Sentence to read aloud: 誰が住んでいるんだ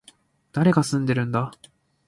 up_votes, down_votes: 0, 2